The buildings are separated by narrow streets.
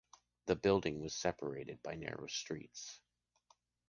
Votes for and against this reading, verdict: 1, 2, rejected